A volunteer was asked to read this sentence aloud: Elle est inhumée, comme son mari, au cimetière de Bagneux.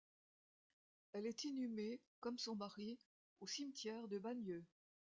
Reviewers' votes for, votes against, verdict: 1, 2, rejected